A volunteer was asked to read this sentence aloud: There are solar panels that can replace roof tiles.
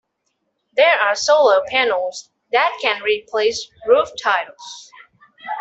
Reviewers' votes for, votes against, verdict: 2, 0, accepted